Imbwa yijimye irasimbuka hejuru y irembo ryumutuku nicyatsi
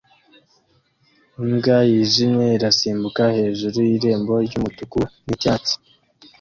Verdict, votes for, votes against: accepted, 2, 0